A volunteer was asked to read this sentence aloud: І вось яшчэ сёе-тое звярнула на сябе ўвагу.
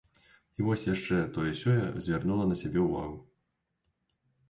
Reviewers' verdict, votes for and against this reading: rejected, 0, 2